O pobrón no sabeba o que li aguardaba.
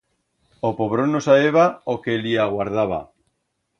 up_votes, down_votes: 2, 0